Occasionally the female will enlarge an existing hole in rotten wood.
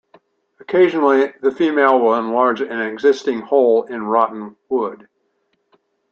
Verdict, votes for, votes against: accepted, 2, 0